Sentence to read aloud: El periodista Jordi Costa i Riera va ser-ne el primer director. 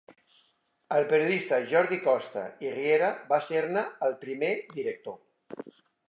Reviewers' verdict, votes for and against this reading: accepted, 3, 0